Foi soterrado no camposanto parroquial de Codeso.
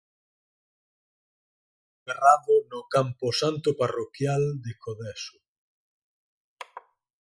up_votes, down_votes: 0, 4